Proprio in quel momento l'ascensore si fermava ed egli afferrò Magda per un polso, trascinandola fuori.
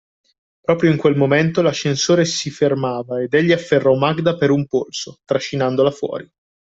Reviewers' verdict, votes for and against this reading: accepted, 2, 0